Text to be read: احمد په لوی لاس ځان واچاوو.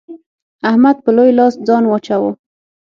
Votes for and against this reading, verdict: 6, 0, accepted